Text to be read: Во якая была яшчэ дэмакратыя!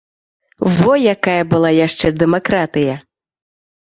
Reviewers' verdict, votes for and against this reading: accepted, 2, 0